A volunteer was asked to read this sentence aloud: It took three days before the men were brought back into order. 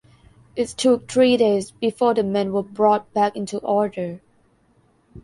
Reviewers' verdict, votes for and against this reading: accepted, 2, 0